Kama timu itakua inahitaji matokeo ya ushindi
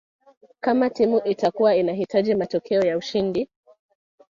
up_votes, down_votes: 0, 2